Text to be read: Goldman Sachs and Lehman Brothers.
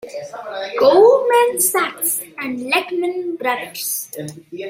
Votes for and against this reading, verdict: 1, 2, rejected